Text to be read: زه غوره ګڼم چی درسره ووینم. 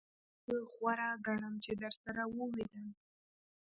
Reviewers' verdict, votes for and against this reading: accepted, 2, 0